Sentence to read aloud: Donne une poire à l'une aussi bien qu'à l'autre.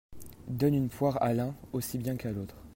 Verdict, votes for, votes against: rejected, 0, 2